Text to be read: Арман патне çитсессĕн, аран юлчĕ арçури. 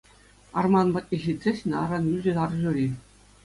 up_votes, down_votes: 2, 0